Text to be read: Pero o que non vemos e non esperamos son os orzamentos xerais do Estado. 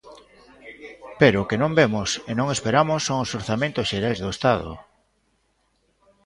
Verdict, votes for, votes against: rejected, 0, 2